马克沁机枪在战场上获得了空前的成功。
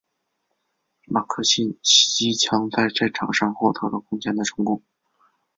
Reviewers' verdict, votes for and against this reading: accepted, 4, 0